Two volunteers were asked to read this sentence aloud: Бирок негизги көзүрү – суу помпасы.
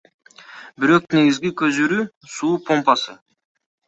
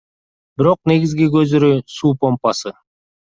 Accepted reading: second